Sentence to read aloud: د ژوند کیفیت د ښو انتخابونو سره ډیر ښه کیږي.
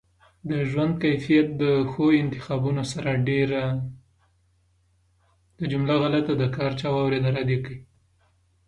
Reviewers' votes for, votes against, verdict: 0, 2, rejected